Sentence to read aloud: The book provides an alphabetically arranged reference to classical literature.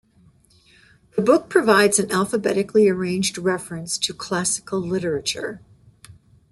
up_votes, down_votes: 0, 2